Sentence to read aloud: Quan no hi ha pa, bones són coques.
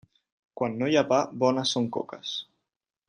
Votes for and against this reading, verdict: 3, 0, accepted